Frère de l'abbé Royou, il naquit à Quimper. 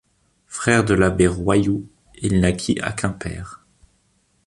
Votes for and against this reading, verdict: 2, 0, accepted